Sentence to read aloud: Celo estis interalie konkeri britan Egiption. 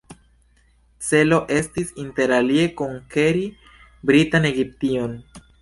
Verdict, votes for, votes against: accepted, 2, 0